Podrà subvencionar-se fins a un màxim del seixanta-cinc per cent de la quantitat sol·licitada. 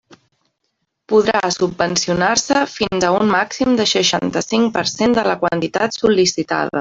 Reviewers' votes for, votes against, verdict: 0, 2, rejected